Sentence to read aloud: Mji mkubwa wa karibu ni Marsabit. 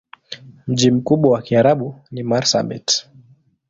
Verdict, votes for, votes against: rejected, 1, 2